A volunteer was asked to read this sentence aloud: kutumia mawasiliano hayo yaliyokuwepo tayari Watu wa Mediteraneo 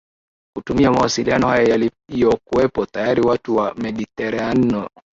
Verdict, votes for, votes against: accepted, 2, 0